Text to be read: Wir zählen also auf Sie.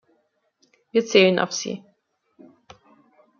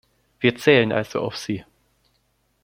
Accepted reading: second